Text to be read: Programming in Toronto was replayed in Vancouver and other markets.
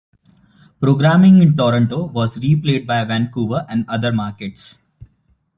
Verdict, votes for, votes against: accepted, 2, 0